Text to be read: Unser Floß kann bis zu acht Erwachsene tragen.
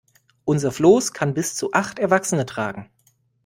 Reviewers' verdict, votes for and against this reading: accepted, 2, 0